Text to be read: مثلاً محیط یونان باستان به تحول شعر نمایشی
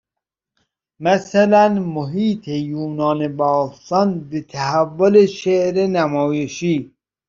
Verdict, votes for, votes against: accepted, 2, 0